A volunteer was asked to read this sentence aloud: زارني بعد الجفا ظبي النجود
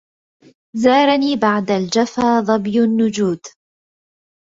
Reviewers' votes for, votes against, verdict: 2, 0, accepted